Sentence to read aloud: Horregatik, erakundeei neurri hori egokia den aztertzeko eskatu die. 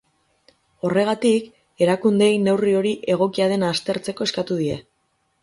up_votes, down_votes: 4, 0